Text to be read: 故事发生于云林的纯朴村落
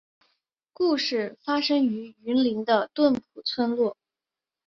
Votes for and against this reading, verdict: 2, 2, rejected